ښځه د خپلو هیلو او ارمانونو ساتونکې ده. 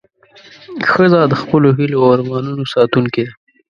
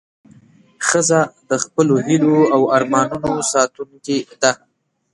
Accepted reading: second